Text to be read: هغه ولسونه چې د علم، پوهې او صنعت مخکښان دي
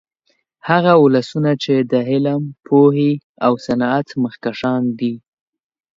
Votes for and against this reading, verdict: 2, 0, accepted